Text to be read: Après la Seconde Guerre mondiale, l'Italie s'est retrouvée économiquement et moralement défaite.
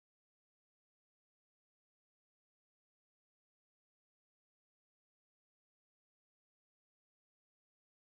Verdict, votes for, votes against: rejected, 0, 2